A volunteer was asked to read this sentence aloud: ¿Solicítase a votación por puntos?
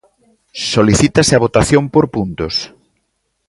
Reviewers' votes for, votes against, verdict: 2, 0, accepted